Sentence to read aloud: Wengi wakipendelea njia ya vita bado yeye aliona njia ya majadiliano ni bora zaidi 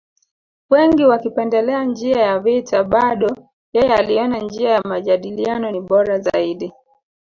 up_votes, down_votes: 2, 0